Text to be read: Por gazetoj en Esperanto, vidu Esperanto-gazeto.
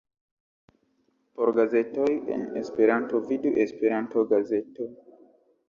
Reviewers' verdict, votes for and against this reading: accepted, 2, 0